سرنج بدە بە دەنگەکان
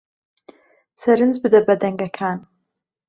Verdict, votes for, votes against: rejected, 0, 2